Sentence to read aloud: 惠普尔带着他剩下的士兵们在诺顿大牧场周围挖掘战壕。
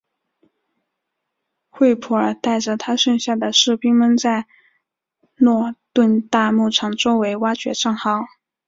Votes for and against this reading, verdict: 7, 2, accepted